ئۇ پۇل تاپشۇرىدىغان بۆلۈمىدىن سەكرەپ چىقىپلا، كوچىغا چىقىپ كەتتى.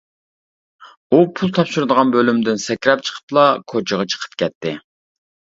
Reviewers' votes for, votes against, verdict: 2, 0, accepted